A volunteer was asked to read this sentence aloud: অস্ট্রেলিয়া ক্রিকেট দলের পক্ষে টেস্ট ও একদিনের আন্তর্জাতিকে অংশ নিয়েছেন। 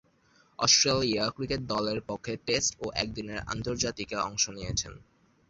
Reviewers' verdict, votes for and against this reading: rejected, 0, 2